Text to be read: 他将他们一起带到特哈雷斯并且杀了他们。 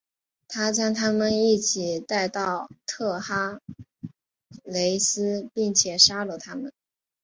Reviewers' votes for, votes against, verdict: 2, 1, accepted